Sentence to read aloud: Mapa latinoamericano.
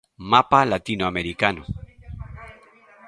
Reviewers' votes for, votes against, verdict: 0, 2, rejected